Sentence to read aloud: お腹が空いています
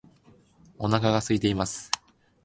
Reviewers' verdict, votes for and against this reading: accepted, 2, 0